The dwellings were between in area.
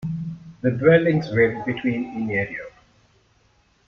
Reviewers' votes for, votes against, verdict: 0, 2, rejected